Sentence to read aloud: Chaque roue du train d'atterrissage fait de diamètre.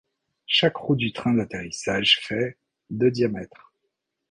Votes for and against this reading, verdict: 3, 0, accepted